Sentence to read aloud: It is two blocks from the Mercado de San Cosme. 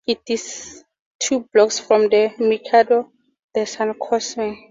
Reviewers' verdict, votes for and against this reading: accepted, 2, 0